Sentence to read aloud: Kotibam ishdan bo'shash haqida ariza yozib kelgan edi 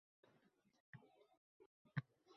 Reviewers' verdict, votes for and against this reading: rejected, 0, 2